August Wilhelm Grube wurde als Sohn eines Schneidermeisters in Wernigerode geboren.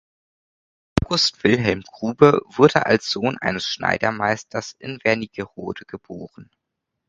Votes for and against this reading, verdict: 0, 2, rejected